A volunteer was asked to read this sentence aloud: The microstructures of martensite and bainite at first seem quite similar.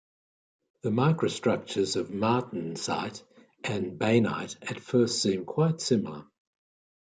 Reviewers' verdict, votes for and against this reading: accepted, 2, 0